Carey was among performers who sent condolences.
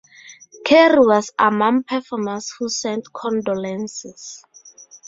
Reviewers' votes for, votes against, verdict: 0, 2, rejected